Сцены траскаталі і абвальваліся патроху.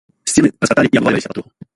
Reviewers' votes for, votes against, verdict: 0, 2, rejected